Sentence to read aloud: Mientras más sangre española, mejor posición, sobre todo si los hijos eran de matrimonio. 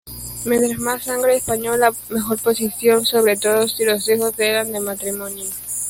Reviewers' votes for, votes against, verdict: 1, 2, rejected